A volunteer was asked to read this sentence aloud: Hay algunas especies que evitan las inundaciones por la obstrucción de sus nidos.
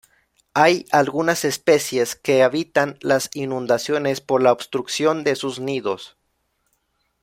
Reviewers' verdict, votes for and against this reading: rejected, 1, 2